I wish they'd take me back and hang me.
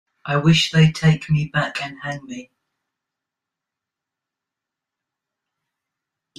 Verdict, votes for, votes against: accepted, 2, 0